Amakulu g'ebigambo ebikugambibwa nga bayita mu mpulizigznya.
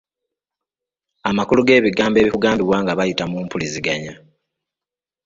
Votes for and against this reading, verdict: 2, 0, accepted